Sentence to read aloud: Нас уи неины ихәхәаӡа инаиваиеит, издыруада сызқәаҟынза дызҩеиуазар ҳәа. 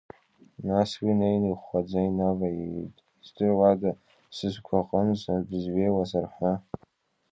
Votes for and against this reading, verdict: 1, 2, rejected